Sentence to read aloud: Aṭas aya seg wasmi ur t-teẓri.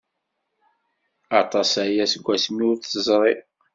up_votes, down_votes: 2, 0